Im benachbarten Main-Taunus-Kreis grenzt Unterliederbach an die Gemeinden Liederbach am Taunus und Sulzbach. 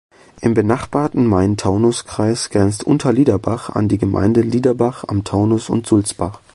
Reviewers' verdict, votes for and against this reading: rejected, 0, 2